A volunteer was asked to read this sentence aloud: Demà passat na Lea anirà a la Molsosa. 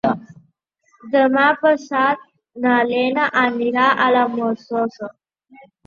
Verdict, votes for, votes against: rejected, 0, 2